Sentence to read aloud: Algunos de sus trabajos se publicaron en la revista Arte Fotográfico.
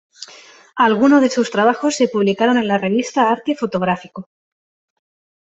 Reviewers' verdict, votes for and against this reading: accepted, 2, 0